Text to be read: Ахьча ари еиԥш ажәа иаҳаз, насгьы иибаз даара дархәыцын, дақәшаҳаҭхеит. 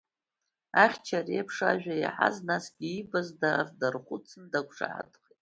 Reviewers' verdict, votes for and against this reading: accepted, 2, 0